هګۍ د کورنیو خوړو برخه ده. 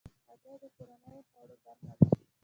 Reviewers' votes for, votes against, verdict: 0, 2, rejected